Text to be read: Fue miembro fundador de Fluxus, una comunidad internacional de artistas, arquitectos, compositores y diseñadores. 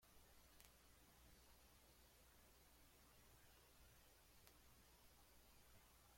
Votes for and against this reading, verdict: 0, 2, rejected